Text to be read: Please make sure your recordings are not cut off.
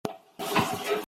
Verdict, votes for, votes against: rejected, 0, 2